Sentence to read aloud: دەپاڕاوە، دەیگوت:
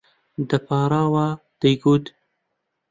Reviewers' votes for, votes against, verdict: 3, 0, accepted